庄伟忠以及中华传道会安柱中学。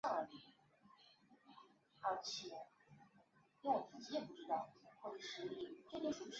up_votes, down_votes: 0, 2